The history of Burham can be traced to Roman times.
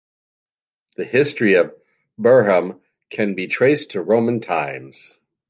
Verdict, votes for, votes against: rejected, 1, 2